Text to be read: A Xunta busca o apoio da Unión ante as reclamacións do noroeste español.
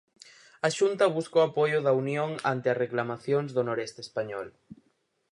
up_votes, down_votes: 0, 4